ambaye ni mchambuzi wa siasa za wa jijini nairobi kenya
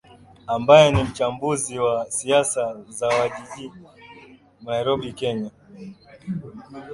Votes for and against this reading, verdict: 2, 0, accepted